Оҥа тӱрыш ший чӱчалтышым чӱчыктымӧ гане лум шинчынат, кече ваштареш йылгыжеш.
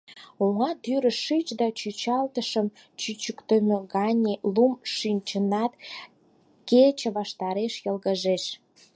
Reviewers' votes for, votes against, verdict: 4, 2, accepted